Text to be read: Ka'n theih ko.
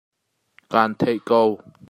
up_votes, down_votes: 2, 0